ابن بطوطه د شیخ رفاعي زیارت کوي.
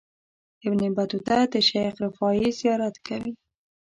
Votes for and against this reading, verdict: 2, 0, accepted